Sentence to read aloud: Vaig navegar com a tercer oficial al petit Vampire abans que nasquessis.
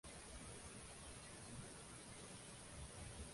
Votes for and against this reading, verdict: 1, 2, rejected